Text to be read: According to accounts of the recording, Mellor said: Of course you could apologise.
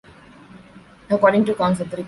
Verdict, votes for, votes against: rejected, 0, 3